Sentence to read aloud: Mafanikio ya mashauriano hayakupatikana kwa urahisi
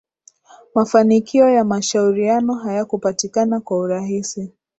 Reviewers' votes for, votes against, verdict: 0, 2, rejected